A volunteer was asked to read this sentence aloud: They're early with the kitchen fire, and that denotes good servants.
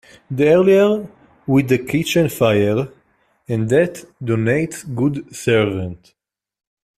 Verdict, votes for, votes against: rejected, 1, 2